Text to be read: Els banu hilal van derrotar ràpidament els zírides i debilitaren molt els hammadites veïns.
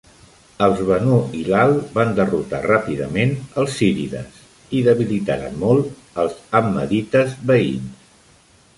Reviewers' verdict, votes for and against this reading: accepted, 2, 0